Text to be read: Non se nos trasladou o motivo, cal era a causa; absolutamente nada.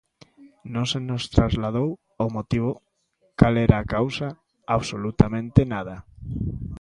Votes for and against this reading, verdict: 2, 0, accepted